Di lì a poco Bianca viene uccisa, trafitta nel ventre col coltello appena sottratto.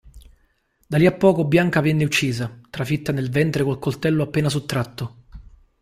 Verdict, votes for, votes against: rejected, 0, 2